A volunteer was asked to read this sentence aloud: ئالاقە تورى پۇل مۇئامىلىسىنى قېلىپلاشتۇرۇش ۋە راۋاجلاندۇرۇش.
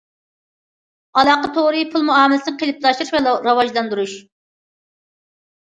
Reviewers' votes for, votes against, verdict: 0, 2, rejected